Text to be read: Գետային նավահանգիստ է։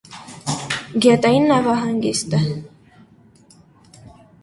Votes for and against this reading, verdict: 0, 2, rejected